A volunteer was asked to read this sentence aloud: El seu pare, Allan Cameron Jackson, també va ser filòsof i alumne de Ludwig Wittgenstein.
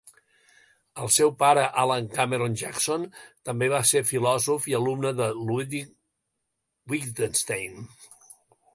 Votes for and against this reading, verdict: 0, 2, rejected